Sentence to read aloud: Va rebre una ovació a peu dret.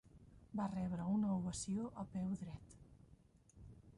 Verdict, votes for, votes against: rejected, 0, 2